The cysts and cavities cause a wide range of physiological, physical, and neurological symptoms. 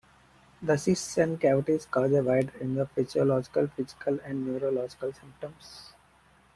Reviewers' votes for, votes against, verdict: 1, 2, rejected